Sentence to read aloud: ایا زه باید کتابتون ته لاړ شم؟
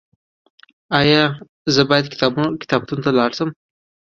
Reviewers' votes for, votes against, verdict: 2, 0, accepted